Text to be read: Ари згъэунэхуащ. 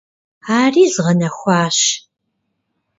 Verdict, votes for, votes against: rejected, 0, 2